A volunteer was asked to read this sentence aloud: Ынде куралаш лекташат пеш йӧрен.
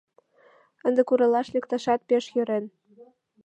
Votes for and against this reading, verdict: 2, 1, accepted